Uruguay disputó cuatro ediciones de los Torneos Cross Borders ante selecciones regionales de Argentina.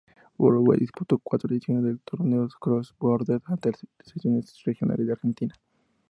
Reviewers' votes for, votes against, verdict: 2, 0, accepted